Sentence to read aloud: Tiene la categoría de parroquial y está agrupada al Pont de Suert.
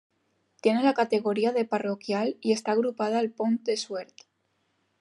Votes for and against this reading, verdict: 2, 0, accepted